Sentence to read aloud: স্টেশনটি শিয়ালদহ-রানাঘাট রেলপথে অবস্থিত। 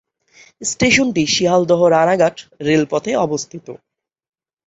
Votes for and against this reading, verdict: 3, 1, accepted